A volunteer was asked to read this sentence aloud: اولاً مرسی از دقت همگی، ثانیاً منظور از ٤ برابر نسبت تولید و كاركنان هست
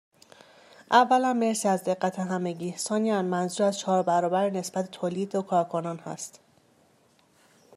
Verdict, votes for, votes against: rejected, 0, 2